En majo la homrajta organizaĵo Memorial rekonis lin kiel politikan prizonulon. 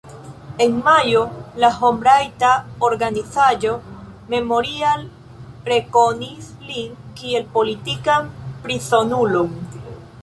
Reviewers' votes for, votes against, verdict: 1, 3, rejected